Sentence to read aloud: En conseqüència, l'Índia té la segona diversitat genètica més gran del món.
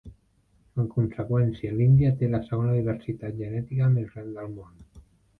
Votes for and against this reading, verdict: 2, 0, accepted